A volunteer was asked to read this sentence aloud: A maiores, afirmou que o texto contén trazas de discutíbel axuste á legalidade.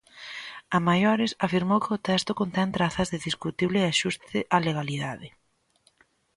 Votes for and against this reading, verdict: 0, 2, rejected